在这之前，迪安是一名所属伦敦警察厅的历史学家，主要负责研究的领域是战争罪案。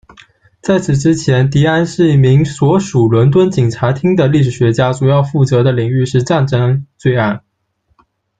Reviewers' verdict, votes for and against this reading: rejected, 1, 2